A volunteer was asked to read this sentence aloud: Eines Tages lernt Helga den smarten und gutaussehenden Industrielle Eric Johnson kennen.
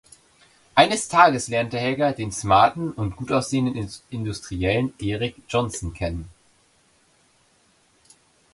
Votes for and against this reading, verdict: 0, 2, rejected